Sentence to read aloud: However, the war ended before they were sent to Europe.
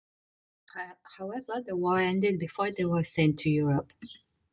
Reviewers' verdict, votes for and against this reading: rejected, 0, 2